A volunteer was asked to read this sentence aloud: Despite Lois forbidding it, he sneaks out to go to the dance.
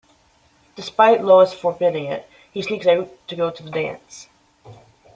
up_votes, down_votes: 2, 0